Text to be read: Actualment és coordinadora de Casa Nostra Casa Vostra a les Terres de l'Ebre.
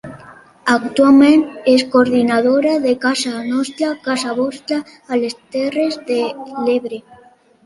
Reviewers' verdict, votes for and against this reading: accepted, 2, 0